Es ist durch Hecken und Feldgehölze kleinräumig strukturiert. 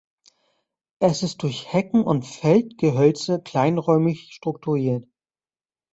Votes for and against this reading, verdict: 2, 0, accepted